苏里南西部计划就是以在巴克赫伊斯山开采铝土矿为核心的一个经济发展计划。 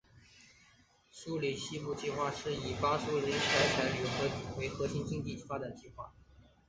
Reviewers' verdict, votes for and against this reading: accepted, 3, 0